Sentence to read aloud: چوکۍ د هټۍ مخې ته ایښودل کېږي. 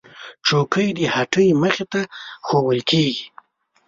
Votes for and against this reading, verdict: 2, 0, accepted